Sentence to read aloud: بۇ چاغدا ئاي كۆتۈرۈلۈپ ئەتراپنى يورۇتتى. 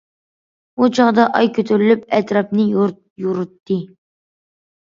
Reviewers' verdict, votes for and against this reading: accepted, 2, 0